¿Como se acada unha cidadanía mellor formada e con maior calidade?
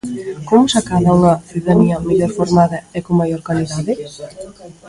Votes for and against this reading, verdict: 0, 2, rejected